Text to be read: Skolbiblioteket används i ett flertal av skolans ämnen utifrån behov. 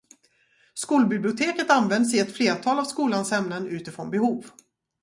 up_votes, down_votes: 2, 2